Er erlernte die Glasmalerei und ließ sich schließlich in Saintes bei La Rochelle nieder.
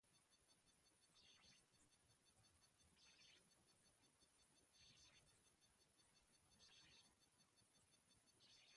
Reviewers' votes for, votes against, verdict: 0, 2, rejected